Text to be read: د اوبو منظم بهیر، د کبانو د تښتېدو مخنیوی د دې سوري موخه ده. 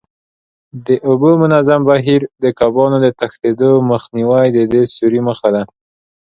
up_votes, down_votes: 2, 0